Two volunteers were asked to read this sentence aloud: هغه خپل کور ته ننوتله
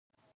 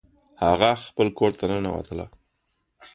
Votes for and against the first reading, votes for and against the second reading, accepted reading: 0, 2, 2, 0, second